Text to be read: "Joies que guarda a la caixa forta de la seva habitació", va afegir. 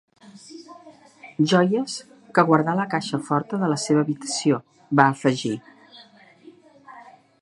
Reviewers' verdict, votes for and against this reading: rejected, 1, 3